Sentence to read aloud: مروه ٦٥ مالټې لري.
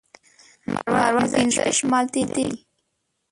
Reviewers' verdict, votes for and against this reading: rejected, 0, 2